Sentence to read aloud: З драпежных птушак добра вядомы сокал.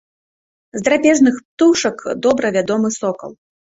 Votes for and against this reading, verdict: 2, 0, accepted